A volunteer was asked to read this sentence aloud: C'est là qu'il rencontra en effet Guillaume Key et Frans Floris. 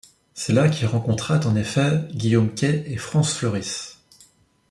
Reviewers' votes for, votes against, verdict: 1, 2, rejected